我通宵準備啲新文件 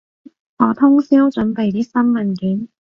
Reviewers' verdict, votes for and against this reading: accepted, 2, 0